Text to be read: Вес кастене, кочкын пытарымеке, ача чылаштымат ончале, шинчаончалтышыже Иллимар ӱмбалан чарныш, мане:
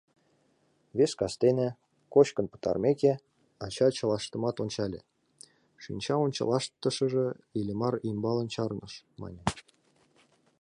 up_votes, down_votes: 2, 3